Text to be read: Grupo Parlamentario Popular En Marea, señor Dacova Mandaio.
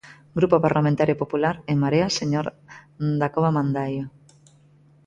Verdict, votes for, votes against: accepted, 2, 0